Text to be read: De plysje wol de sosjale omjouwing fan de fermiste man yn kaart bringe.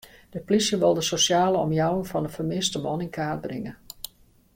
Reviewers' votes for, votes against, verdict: 2, 0, accepted